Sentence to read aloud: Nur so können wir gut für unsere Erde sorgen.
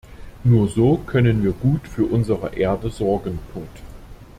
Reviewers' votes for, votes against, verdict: 0, 2, rejected